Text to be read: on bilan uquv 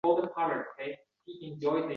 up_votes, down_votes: 0, 2